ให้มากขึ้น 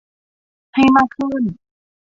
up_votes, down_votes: 1, 2